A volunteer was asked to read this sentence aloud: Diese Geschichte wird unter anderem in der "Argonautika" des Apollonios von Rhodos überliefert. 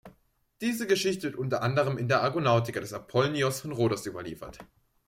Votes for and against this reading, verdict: 0, 2, rejected